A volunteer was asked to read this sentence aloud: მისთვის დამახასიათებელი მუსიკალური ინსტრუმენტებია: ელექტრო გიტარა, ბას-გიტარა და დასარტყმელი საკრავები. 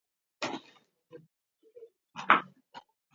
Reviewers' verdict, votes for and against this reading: rejected, 0, 2